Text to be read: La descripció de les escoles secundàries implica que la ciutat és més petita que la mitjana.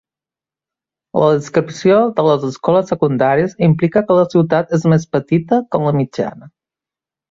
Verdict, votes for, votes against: accepted, 2, 0